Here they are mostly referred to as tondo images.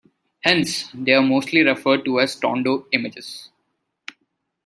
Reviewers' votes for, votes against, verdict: 0, 2, rejected